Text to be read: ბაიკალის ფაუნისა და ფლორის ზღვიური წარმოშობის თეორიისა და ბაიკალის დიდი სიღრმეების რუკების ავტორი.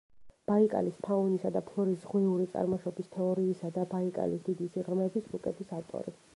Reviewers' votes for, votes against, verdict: 0, 2, rejected